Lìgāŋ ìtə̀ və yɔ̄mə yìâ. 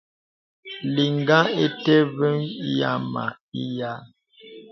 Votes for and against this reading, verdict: 0, 2, rejected